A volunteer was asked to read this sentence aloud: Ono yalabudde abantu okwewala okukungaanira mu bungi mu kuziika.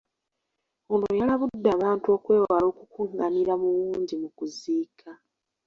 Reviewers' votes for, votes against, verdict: 1, 2, rejected